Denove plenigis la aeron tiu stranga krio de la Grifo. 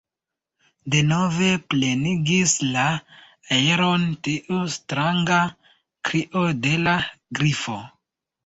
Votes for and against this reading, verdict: 2, 0, accepted